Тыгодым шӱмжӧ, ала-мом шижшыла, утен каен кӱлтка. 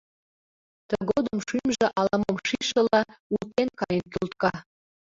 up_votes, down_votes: 2, 1